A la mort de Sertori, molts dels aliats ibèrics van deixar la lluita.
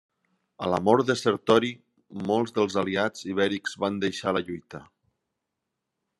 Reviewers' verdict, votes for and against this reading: accepted, 2, 1